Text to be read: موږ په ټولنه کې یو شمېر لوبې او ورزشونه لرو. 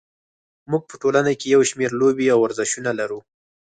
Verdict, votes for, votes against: accepted, 4, 0